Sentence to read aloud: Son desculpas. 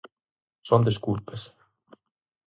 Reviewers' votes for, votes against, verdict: 4, 0, accepted